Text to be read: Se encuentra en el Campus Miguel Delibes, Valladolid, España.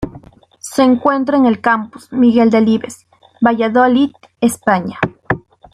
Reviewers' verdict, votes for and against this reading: accepted, 2, 0